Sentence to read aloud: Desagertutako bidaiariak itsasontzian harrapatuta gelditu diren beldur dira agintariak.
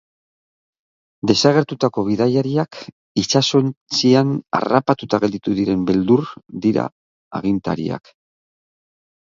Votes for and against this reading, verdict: 3, 3, rejected